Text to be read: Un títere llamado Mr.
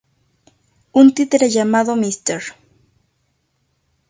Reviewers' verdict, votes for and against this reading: accepted, 2, 0